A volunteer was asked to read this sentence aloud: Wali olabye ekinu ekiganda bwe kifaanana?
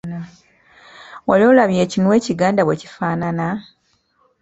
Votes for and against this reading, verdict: 2, 0, accepted